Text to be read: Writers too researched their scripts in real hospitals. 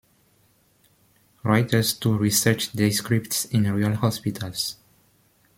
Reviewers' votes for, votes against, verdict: 2, 1, accepted